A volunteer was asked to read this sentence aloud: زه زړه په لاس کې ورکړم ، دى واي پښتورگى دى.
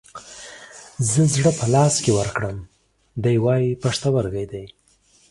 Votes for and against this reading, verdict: 2, 0, accepted